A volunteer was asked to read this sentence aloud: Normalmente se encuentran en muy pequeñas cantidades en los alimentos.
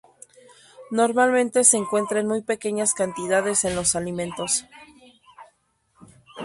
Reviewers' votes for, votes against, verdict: 0, 2, rejected